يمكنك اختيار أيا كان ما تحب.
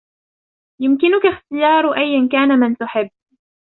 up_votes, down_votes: 0, 2